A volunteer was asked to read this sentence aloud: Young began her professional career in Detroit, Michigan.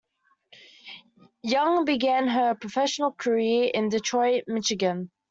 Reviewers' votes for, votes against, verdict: 2, 0, accepted